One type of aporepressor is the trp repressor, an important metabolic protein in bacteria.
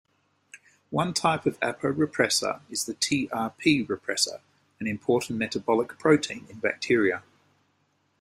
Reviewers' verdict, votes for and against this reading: accepted, 2, 1